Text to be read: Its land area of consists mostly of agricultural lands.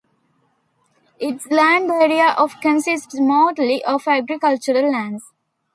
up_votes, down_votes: 2, 0